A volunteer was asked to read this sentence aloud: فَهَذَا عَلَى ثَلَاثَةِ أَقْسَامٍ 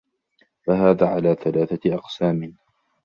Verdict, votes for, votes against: rejected, 0, 2